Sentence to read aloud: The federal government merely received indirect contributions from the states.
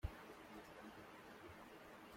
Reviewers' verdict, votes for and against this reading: rejected, 0, 2